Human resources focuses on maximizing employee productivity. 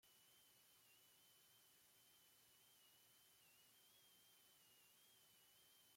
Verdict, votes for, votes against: rejected, 0, 2